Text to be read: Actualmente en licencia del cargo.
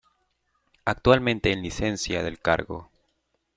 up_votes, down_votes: 2, 0